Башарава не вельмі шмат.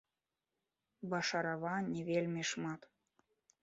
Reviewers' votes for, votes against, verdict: 2, 0, accepted